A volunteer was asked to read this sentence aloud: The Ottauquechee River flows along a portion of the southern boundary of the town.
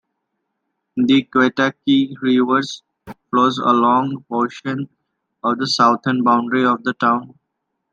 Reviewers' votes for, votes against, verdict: 1, 2, rejected